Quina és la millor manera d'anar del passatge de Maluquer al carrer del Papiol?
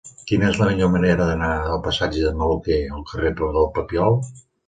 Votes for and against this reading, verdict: 2, 3, rejected